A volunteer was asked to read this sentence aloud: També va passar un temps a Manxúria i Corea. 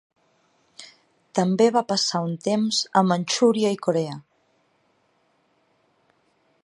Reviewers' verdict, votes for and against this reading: accepted, 2, 0